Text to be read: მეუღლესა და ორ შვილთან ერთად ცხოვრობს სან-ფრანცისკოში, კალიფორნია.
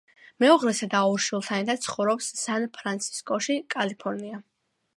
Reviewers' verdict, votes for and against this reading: accepted, 2, 0